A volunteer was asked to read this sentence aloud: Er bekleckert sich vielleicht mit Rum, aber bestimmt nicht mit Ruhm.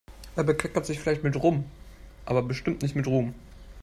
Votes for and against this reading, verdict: 1, 2, rejected